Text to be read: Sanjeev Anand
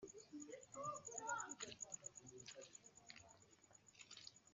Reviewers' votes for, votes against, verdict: 0, 2, rejected